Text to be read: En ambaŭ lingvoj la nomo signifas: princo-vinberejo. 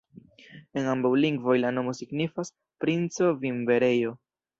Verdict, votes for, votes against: rejected, 1, 2